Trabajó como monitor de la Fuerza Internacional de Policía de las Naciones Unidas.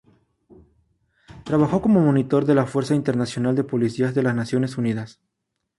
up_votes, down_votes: 2, 0